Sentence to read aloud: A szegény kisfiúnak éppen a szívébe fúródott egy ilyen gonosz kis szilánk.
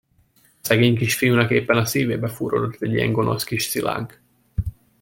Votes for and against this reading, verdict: 0, 2, rejected